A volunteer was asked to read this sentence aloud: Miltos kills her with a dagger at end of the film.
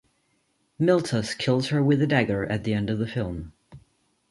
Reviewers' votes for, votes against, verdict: 2, 0, accepted